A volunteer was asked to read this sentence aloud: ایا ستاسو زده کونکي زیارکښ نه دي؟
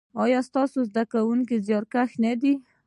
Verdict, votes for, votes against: accepted, 2, 0